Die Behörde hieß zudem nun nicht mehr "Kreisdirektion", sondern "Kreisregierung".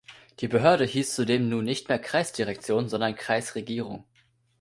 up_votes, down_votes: 2, 0